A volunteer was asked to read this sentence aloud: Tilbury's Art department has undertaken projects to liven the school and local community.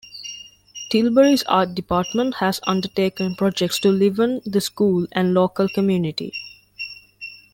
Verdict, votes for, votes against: rejected, 0, 2